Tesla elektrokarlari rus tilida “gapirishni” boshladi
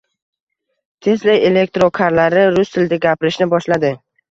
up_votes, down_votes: 2, 0